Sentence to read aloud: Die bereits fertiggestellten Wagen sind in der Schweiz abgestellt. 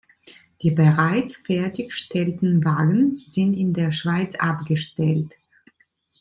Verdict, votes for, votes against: rejected, 1, 2